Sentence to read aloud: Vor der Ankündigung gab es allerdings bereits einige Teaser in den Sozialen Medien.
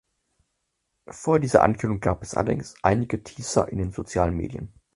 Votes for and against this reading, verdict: 0, 4, rejected